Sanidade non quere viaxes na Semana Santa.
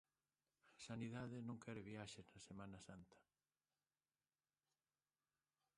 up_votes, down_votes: 0, 2